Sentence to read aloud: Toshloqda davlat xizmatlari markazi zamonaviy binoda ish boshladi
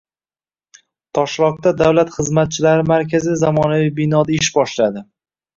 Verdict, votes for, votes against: rejected, 1, 2